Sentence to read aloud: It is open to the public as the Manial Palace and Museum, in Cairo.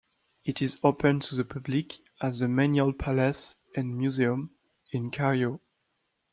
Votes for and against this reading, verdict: 1, 2, rejected